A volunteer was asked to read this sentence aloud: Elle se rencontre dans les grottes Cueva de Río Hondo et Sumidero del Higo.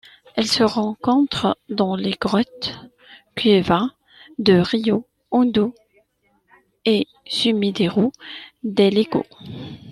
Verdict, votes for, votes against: accepted, 2, 1